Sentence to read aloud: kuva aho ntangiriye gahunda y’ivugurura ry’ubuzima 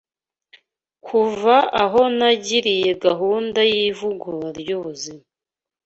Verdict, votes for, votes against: rejected, 1, 2